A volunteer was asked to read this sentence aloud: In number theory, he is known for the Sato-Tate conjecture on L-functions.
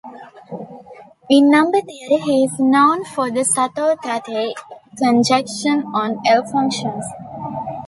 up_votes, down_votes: 0, 2